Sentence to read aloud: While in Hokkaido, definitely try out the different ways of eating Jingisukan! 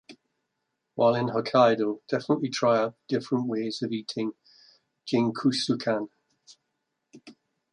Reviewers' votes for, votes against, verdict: 0, 2, rejected